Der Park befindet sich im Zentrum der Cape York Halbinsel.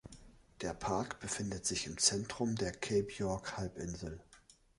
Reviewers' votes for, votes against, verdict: 2, 0, accepted